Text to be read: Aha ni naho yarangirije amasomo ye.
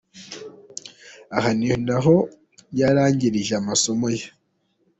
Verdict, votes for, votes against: accepted, 2, 0